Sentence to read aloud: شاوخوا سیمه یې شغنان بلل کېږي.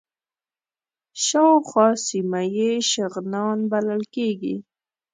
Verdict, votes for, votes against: accepted, 2, 0